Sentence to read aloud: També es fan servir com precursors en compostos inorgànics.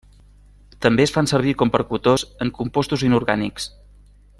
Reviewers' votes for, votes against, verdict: 0, 2, rejected